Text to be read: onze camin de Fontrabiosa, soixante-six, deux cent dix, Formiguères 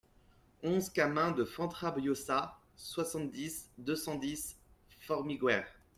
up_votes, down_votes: 2, 1